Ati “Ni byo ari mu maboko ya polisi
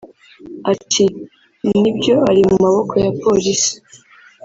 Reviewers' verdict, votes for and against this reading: rejected, 1, 2